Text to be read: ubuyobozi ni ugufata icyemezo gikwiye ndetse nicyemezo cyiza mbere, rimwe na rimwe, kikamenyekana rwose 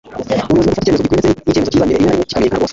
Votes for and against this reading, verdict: 1, 2, rejected